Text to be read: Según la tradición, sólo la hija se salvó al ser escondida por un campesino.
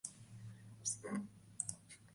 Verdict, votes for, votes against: rejected, 0, 2